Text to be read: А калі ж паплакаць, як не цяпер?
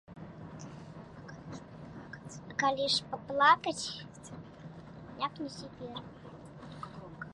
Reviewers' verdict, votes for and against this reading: rejected, 0, 2